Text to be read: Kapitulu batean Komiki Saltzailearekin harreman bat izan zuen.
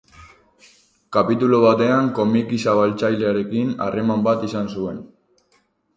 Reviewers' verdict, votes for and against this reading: rejected, 0, 2